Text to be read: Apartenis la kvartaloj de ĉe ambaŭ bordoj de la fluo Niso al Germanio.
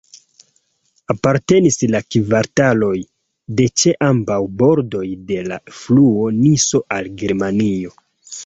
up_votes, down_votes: 3, 1